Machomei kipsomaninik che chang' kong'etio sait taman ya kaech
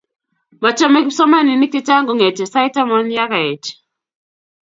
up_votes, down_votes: 2, 0